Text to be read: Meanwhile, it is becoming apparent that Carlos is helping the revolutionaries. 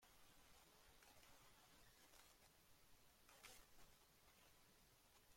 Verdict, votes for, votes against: rejected, 0, 2